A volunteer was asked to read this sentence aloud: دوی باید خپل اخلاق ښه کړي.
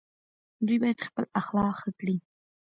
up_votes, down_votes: 2, 1